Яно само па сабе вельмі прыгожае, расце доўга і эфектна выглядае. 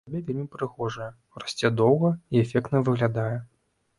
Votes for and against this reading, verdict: 1, 2, rejected